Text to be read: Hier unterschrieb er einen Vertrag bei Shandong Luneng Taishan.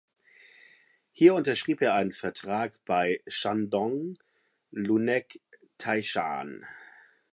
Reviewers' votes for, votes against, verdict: 1, 2, rejected